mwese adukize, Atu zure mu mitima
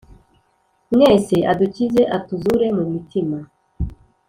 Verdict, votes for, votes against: accepted, 2, 0